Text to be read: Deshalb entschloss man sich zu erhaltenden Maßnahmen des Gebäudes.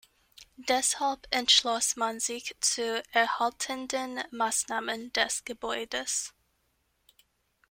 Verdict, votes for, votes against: accepted, 2, 0